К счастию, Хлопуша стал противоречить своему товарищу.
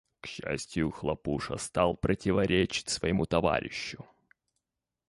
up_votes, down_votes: 1, 2